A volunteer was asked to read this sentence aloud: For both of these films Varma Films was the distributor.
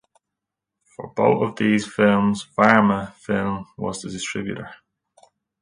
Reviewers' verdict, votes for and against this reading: accepted, 2, 0